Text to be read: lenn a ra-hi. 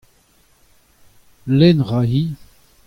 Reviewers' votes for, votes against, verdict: 2, 0, accepted